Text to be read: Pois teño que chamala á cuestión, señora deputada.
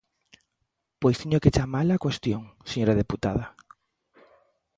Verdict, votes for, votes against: accepted, 2, 0